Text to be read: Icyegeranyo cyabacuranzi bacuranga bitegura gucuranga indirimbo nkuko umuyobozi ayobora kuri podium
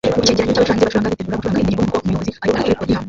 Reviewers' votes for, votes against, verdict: 0, 2, rejected